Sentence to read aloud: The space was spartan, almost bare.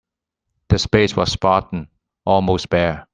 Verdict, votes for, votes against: accepted, 2, 0